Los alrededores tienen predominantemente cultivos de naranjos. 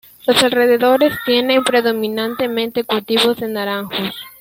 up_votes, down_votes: 2, 0